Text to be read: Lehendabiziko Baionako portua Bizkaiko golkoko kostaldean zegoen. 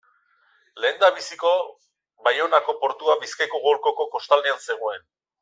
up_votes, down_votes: 2, 0